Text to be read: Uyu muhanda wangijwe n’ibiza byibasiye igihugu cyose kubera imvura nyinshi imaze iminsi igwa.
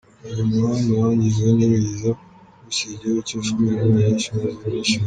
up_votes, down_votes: 0, 3